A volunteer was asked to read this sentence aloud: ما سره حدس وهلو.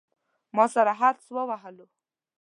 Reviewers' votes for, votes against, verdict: 0, 2, rejected